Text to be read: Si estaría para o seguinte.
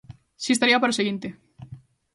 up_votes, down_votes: 2, 0